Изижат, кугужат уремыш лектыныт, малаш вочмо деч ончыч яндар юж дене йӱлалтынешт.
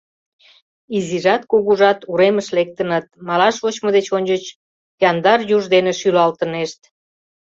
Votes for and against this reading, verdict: 0, 2, rejected